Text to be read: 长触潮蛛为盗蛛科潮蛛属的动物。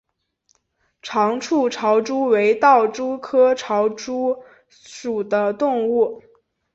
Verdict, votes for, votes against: accepted, 2, 0